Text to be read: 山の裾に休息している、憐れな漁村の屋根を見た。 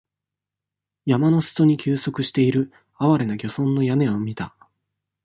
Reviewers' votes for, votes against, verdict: 2, 0, accepted